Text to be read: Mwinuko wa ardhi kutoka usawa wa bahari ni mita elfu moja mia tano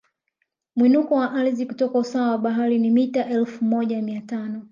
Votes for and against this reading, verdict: 2, 1, accepted